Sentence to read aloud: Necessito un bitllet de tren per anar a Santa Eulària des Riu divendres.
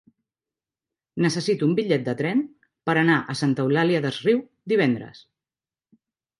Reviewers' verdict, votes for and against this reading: accepted, 3, 0